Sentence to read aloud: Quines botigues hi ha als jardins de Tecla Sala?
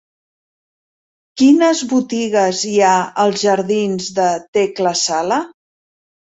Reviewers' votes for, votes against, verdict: 3, 1, accepted